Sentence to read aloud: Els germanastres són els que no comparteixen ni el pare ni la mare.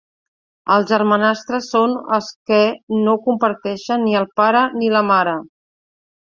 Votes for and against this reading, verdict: 2, 0, accepted